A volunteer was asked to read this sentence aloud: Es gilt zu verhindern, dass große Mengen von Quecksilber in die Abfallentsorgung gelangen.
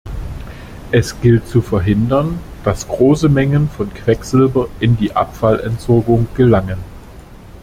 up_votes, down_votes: 2, 0